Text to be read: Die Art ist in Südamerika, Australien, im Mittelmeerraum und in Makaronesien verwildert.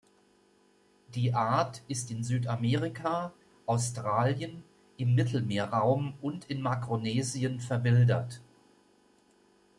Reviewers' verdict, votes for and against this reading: rejected, 1, 2